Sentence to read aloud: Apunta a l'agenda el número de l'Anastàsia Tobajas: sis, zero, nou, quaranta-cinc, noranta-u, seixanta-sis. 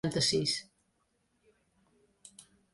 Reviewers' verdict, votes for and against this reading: rejected, 0, 2